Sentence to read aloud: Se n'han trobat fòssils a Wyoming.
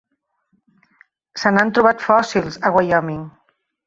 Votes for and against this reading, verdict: 3, 0, accepted